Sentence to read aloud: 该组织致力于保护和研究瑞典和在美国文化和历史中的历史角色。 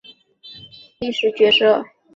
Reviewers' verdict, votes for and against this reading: rejected, 2, 3